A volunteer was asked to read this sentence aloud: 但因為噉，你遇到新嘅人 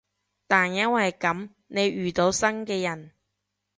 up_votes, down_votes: 2, 0